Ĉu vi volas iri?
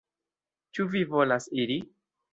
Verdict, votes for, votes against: accepted, 3, 0